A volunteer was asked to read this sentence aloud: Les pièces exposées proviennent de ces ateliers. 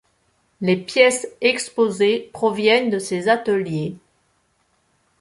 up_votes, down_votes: 2, 0